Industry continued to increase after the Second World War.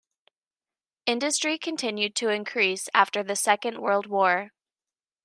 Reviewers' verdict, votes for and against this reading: accepted, 2, 0